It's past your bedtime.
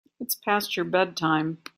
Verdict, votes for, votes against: accepted, 3, 0